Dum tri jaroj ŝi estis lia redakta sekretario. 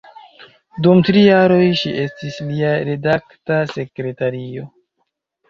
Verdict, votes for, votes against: rejected, 1, 2